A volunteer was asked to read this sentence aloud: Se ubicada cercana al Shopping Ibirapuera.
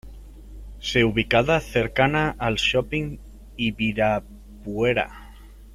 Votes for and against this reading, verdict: 0, 2, rejected